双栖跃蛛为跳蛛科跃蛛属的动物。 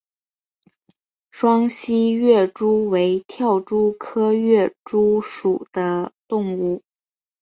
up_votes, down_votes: 2, 0